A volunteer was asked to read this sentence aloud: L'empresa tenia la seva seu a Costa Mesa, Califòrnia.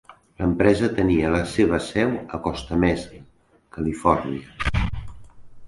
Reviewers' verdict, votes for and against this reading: accepted, 3, 0